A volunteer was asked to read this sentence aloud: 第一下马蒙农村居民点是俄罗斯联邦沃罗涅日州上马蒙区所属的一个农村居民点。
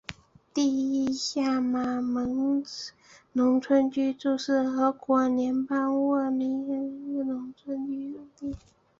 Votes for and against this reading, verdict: 1, 4, rejected